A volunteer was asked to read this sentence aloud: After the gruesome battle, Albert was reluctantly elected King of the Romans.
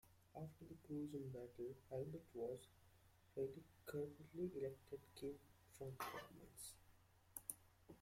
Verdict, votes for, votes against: rejected, 1, 2